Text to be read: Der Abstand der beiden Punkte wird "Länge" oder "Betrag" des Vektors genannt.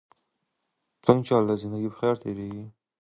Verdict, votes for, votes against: rejected, 0, 2